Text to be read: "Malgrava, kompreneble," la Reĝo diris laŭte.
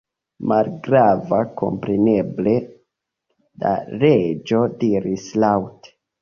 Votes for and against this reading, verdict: 2, 0, accepted